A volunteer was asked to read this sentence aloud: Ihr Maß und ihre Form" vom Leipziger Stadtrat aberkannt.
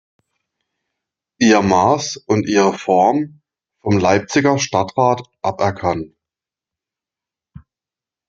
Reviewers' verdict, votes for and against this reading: rejected, 0, 2